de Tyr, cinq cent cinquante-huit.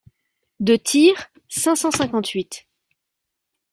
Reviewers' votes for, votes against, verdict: 2, 0, accepted